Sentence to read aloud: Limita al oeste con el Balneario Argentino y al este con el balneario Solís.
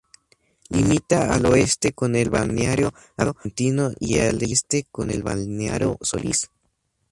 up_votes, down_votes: 2, 4